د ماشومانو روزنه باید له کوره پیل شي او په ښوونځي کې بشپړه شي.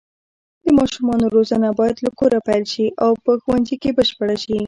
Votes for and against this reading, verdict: 1, 2, rejected